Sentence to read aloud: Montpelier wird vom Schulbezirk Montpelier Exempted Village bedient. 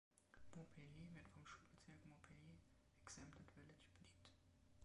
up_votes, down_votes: 0, 2